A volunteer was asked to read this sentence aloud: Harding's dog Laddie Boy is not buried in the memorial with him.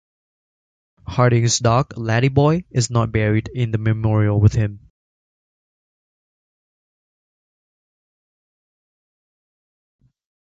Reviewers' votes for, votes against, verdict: 3, 1, accepted